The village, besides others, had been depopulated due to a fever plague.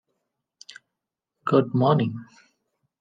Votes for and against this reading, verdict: 0, 2, rejected